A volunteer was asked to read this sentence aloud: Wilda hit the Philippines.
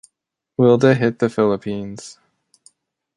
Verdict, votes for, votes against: accepted, 2, 0